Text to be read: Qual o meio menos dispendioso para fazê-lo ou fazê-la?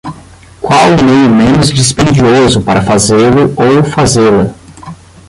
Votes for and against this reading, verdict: 5, 10, rejected